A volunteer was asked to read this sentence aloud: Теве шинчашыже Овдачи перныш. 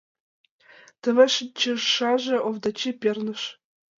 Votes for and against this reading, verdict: 0, 2, rejected